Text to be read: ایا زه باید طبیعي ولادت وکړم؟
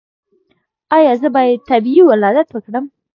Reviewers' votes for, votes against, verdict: 0, 2, rejected